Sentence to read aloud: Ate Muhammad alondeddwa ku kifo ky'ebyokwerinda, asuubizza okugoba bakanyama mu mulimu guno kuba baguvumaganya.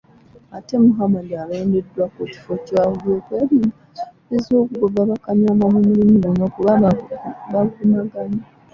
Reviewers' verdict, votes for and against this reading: rejected, 1, 2